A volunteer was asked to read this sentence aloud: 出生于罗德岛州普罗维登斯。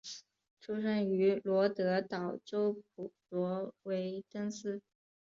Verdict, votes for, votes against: rejected, 1, 3